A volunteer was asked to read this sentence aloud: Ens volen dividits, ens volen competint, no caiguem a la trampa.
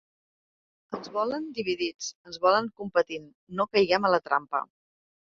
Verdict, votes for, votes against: accepted, 2, 0